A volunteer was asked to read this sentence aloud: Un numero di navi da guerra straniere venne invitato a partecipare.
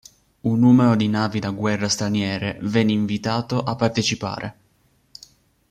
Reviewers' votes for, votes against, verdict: 2, 0, accepted